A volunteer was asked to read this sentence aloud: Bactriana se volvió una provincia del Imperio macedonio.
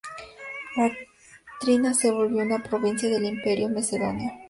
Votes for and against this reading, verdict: 2, 0, accepted